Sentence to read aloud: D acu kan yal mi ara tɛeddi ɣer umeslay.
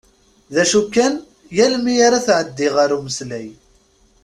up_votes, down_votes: 2, 0